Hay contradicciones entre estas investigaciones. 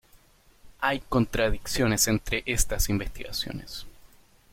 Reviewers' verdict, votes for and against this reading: accepted, 2, 0